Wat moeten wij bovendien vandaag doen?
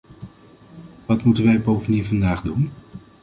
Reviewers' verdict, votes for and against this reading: accepted, 2, 1